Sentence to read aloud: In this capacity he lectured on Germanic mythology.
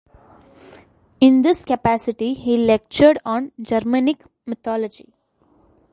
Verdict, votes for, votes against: accepted, 2, 1